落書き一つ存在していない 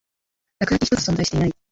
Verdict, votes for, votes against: rejected, 0, 2